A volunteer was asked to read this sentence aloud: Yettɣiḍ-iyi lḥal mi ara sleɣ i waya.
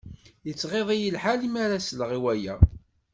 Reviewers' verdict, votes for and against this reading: accepted, 2, 0